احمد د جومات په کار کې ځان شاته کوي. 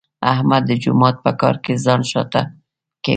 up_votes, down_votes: 2, 0